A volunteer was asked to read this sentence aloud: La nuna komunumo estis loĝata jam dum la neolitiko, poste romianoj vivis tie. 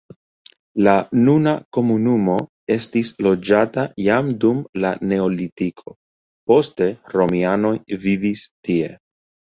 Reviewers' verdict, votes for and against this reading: rejected, 0, 2